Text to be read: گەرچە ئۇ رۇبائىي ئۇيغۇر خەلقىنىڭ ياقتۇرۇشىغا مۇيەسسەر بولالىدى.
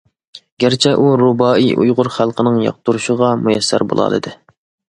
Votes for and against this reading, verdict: 2, 0, accepted